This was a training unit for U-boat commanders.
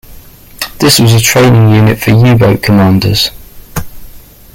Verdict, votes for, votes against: accepted, 2, 0